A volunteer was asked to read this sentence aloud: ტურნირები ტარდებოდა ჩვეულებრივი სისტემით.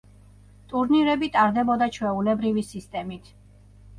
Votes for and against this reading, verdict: 2, 0, accepted